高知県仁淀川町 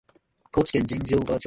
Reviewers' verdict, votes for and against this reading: rejected, 0, 2